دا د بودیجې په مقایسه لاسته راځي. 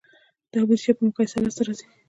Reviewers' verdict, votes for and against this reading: rejected, 1, 2